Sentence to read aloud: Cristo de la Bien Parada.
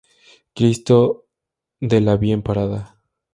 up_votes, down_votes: 0, 2